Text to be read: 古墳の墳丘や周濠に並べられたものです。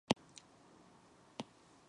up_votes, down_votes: 0, 6